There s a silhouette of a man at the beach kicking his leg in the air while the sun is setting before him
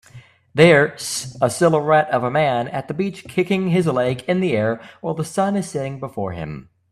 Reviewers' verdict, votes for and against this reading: accepted, 2, 0